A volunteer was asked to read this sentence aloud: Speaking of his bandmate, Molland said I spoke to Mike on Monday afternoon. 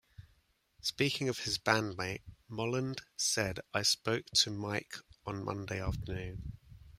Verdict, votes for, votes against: accepted, 2, 0